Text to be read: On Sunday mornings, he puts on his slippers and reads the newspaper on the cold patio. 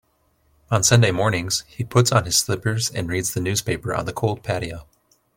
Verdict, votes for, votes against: accepted, 2, 0